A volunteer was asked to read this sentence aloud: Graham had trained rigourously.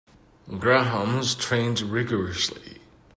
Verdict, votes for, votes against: rejected, 0, 2